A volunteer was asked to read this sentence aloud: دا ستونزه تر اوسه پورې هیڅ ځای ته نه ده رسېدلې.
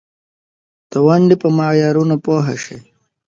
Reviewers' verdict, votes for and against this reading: rejected, 1, 2